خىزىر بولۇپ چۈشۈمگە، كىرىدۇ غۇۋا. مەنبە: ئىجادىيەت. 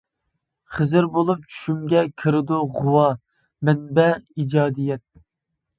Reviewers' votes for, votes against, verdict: 2, 0, accepted